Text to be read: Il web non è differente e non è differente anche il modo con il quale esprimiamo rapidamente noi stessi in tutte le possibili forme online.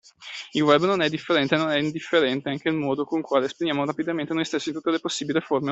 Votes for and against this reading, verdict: 0, 2, rejected